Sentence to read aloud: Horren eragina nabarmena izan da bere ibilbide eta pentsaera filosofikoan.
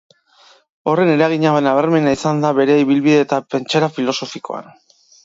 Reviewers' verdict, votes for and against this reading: accepted, 2, 0